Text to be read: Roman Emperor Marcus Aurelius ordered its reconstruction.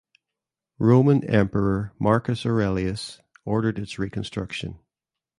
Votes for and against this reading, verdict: 2, 0, accepted